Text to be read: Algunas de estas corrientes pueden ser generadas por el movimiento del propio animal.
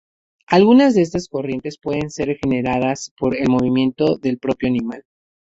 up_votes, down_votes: 2, 0